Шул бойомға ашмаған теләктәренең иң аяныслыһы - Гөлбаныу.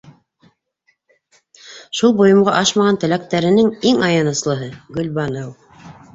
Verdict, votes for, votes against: accepted, 3, 0